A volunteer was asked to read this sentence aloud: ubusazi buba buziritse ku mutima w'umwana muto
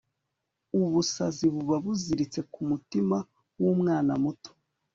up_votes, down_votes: 3, 1